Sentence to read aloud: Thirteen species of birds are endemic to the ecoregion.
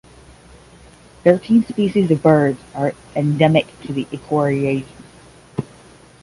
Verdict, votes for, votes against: rejected, 0, 10